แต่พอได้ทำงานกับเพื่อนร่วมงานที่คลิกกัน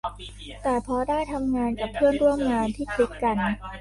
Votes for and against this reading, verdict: 1, 2, rejected